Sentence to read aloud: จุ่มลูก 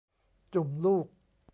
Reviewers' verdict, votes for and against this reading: accepted, 2, 0